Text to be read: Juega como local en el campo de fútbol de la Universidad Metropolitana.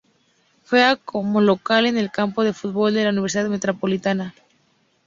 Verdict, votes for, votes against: rejected, 2, 2